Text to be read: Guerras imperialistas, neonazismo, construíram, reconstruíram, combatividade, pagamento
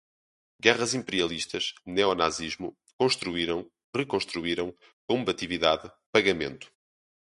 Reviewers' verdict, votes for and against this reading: rejected, 0, 2